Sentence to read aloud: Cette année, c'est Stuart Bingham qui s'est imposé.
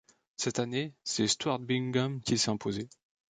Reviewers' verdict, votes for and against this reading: accepted, 2, 1